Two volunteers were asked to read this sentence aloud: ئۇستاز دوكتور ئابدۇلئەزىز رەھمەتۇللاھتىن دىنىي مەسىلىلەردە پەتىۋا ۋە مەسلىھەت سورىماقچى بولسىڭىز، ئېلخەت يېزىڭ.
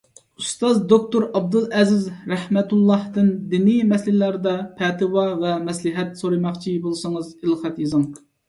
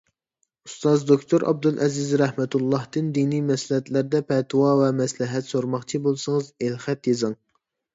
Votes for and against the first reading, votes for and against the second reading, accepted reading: 2, 0, 0, 2, first